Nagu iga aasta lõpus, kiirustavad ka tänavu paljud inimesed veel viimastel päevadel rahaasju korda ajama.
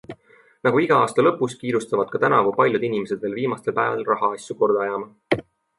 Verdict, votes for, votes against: accepted, 2, 0